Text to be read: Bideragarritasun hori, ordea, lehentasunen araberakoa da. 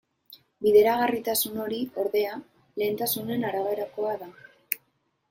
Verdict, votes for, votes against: accepted, 2, 0